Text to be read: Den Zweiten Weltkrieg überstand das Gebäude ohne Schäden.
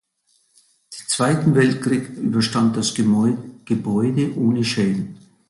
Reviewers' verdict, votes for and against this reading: rejected, 0, 2